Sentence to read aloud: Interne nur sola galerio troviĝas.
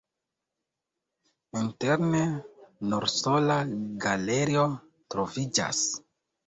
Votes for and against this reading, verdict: 2, 0, accepted